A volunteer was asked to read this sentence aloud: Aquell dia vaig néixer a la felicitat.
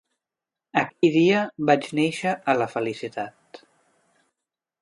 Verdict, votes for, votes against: rejected, 1, 2